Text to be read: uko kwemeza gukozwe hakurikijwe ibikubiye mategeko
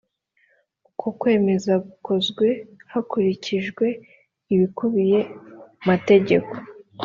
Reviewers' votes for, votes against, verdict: 2, 0, accepted